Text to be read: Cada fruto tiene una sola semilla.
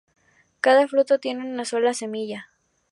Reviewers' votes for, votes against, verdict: 2, 0, accepted